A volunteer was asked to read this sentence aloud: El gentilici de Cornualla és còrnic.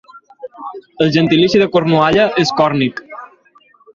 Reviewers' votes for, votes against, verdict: 4, 2, accepted